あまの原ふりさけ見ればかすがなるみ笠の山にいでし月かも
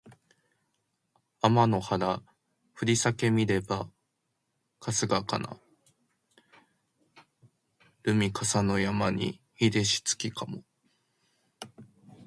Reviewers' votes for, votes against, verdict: 1, 3, rejected